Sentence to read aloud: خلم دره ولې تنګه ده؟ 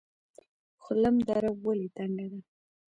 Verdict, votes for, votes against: rejected, 0, 2